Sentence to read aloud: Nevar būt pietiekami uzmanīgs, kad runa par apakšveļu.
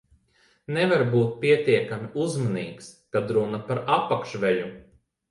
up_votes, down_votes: 2, 0